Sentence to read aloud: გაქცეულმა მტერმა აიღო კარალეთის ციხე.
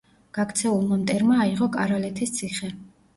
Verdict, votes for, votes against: accepted, 2, 0